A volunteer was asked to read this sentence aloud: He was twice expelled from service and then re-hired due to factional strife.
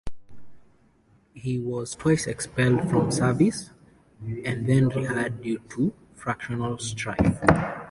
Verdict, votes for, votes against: accepted, 2, 0